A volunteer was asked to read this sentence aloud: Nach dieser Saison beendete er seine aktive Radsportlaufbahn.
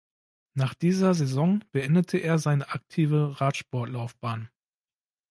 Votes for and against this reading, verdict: 2, 0, accepted